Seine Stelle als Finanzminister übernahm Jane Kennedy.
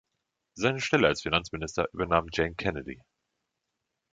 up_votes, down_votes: 2, 0